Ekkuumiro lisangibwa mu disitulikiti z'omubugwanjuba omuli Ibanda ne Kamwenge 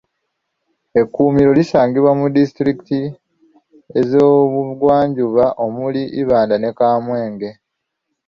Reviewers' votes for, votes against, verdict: 3, 0, accepted